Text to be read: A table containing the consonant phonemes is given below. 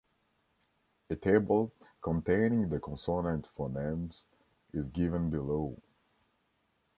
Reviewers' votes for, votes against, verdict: 1, 2, rejected